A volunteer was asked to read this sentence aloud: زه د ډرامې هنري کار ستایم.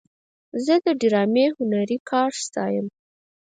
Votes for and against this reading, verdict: 4, 0, accepted